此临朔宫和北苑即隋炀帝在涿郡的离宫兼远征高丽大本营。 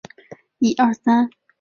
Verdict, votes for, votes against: rejected, 0, 2